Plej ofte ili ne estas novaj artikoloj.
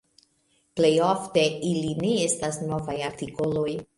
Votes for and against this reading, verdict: 2, 0, accepted